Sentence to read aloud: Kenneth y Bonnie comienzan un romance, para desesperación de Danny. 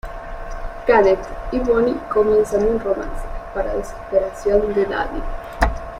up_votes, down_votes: 2, 1